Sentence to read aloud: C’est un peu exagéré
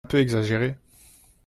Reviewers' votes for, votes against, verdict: 1, 2, rejected